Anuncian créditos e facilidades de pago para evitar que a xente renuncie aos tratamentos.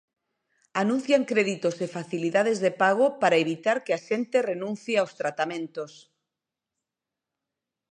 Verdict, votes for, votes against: rejected, 0, 2